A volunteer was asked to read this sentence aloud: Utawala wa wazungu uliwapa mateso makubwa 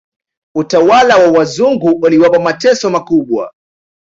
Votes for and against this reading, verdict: 2, 0, accepted